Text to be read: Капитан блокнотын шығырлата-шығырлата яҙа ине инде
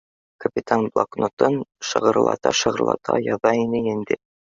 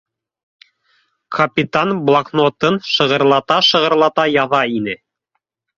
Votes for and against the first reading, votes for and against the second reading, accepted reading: 2, 0, 0, 2, first